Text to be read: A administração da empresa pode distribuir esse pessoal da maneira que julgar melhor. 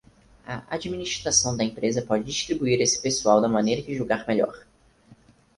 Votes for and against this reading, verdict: 4, 0, accepted